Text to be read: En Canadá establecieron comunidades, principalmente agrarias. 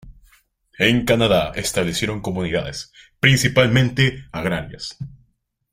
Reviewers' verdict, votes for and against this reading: accepted, 3, 0